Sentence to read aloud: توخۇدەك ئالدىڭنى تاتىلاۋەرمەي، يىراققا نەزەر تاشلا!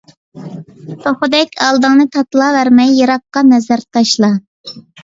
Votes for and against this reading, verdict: 2, 0, accepted